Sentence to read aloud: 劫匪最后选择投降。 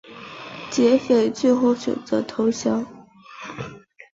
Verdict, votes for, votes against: rejected, 1, 2